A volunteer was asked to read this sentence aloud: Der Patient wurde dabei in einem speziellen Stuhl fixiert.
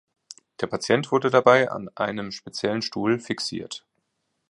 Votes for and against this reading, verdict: 0, 2, rejected